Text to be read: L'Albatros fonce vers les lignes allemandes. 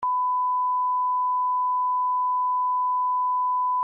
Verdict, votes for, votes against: rejected, 0, 2